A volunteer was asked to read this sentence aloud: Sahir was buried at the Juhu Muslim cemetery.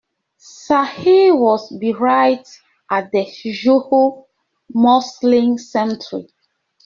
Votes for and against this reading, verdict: 0, 2, rejected